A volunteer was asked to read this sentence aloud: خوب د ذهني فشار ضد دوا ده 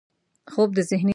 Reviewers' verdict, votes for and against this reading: rejected, 1, 2